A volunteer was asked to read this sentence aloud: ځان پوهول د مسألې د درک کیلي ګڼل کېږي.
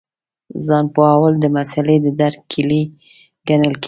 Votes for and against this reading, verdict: 3, 0, accepted